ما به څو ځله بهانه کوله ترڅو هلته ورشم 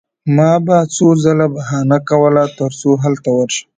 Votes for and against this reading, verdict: 2, 0, accepted